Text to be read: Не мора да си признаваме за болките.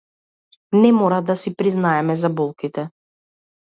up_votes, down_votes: 0, 2